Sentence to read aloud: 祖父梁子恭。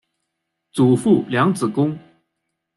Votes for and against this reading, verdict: 2, 0, accepted